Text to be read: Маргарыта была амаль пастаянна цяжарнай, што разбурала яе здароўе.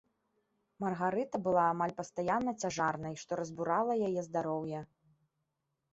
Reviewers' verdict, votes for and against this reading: accepted, 2, 0